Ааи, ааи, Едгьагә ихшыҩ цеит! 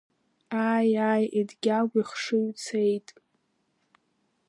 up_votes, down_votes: 2, 0